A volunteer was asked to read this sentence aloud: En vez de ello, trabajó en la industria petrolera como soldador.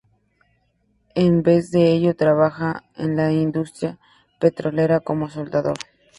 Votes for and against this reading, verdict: 0, 2, rejected